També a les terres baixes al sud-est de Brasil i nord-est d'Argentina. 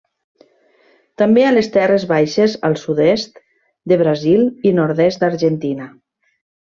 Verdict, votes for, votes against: accepted, 3, 0